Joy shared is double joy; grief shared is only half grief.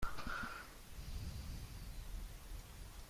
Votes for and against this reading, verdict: 0, 2, rejected